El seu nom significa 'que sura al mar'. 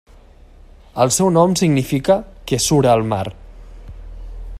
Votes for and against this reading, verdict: 1, 2, rejected